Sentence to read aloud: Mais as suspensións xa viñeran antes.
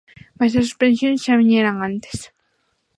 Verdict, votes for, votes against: rejected, 1, 2